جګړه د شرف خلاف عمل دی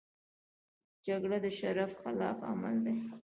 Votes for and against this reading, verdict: 0, 2, rejected